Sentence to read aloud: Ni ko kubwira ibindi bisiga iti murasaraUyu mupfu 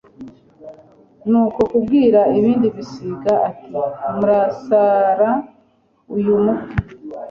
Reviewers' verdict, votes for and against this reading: rejected, 0, 2